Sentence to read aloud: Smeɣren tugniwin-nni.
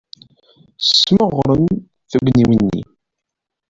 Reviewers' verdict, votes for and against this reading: rejected, 1, 2